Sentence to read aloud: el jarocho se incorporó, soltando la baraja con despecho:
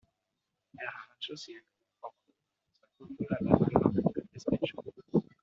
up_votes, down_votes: 1, 2